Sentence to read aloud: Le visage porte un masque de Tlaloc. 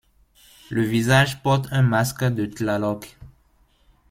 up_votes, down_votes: 1, 2